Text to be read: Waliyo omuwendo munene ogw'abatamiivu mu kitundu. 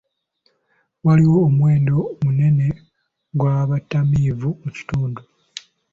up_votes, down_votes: 1, 2